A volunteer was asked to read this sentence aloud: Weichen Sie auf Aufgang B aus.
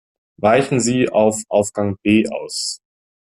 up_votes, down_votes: 2, 0